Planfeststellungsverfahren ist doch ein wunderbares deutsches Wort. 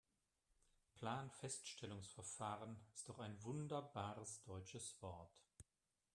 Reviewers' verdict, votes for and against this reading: accepted, 3, 0